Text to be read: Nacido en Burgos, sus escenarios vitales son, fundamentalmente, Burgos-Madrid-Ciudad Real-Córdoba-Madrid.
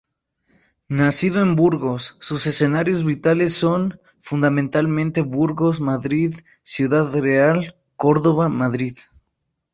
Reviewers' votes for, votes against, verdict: 2, 0, accepted